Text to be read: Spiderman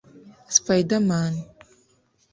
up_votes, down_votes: 1, 2